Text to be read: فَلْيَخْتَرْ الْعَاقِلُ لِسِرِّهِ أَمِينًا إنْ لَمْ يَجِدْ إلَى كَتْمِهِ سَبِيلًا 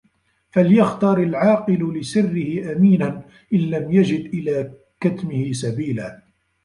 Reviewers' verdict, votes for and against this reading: rejected, 1, 2